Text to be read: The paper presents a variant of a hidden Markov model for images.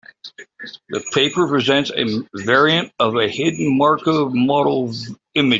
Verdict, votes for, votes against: rejected, 0, 3